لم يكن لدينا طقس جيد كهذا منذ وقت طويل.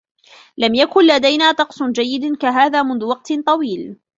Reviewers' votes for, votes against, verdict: 1, 2, rejected